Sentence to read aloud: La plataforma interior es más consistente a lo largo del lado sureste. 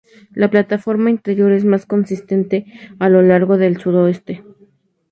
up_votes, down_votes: 0, 2